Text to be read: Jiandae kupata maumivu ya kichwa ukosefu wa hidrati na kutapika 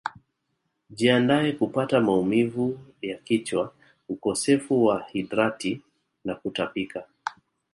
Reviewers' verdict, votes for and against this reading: rejected, 0, 2